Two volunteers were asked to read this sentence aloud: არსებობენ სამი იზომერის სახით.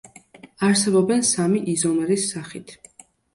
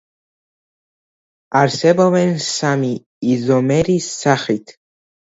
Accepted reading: first